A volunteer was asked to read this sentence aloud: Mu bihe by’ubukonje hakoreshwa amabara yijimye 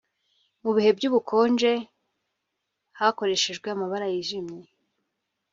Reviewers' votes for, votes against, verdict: 0, 2, rejected